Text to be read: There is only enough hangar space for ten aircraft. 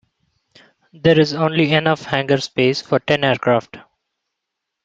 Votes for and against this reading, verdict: 2, 0, accepted